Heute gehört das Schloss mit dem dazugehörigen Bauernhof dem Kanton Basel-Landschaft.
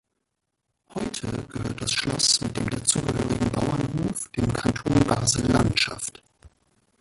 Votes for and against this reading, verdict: 0, 2, rejected